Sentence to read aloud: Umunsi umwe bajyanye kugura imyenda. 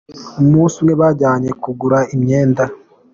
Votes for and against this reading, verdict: 2, 0, accepted